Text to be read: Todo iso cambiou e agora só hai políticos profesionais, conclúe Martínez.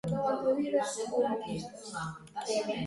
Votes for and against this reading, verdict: 0, 2, rejected